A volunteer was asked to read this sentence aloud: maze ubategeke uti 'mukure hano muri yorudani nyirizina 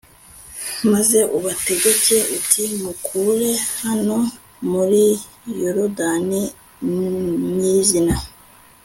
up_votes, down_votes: 2, 0